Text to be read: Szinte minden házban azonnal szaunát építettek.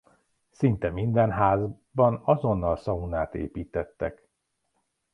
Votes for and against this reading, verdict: 0, 2, rejected